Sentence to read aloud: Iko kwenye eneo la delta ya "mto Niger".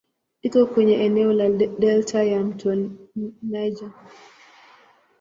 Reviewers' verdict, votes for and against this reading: rejected, 0, 2